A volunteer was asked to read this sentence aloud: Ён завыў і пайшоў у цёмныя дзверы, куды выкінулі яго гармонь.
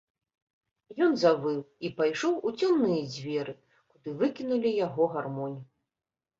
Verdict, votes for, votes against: rejected, 0, 2